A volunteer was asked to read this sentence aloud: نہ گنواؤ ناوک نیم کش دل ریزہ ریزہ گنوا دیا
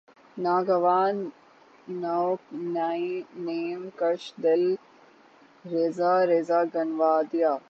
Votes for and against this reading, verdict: 0, 9, rejected